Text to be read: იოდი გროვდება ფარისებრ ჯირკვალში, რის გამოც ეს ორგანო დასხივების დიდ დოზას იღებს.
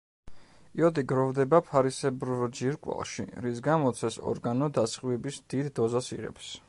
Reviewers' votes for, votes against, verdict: 1, 2, rejected